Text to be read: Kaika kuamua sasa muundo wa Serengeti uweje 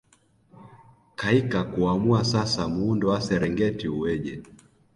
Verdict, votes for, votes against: accepted, 2, 0